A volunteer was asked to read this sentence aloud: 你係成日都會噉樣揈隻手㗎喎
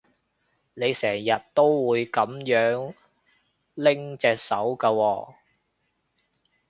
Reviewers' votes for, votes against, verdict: 0, 2, rejected